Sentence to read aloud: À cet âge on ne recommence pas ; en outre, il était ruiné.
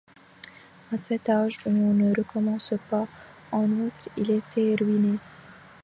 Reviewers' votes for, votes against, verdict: 1, 2, rejected